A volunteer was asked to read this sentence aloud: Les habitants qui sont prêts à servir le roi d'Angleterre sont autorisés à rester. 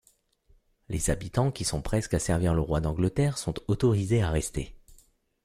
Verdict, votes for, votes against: rejected, 1, 2